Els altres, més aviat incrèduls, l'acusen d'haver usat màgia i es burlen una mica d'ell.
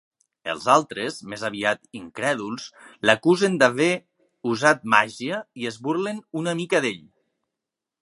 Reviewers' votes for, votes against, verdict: 2, 1, accepted